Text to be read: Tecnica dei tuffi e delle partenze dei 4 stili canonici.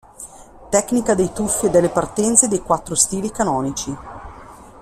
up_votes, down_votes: 0, 2